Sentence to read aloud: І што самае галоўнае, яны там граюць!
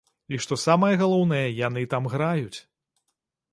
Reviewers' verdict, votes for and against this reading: accepted, 2, 0